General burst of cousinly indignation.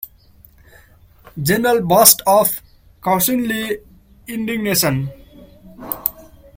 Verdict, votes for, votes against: accepted, 2, 1